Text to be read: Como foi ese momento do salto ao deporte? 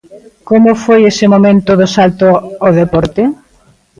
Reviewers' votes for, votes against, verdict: 1, 2, rejected